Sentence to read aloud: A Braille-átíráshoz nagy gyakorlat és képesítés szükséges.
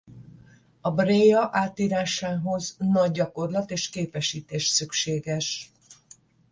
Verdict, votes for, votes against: rejected, 0, 5